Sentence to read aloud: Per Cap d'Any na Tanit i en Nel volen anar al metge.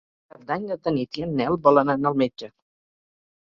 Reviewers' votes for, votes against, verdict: 0, 4, rejected